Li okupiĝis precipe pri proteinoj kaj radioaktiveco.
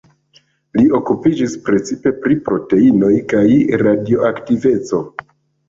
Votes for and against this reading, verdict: 1, 2, rejected